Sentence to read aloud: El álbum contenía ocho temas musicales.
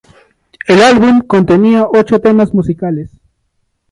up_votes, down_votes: 0, 2